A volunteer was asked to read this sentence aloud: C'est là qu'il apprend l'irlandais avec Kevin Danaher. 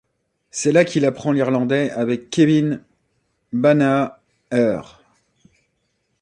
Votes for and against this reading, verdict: 0, 2, rejected